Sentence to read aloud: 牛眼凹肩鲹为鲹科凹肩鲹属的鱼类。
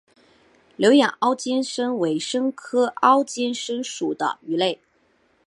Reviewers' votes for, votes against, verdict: 2, 1, accepted